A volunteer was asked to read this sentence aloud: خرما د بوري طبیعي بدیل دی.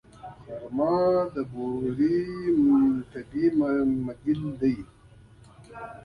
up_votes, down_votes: 2, 1